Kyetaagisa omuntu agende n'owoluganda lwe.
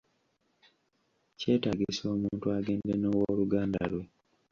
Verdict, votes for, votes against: accepted, 2, 0